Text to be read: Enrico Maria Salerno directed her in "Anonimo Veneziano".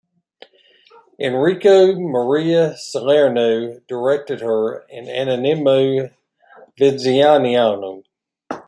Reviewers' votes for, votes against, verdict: 1, 2, rejected